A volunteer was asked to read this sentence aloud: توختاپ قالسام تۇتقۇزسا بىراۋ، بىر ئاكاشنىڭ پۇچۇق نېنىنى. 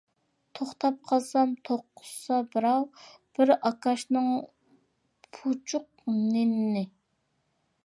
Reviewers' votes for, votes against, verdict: 0, 2, rejected